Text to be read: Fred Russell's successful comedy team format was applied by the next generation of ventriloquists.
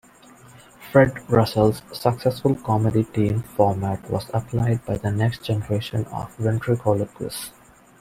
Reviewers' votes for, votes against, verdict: 1, 2, rejected